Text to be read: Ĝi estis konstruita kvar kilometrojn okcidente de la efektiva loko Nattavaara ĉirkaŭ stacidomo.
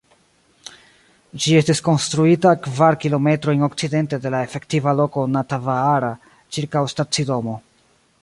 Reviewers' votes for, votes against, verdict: 1, 2, rejected